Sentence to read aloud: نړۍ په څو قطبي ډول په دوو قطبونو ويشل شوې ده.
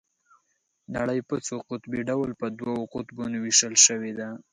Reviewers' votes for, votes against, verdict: 2, 0, accepted